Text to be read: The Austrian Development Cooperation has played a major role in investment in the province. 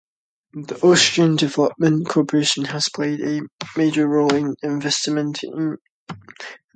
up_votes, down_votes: 0, 2